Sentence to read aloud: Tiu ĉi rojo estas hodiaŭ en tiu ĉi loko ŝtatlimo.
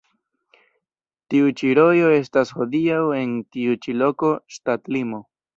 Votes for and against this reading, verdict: 2, 0, accepted